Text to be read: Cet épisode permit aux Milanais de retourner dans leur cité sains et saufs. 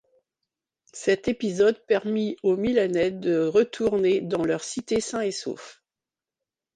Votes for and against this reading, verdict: 2, 0, accepted